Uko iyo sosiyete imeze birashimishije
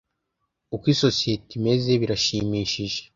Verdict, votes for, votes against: rejected, 0, 2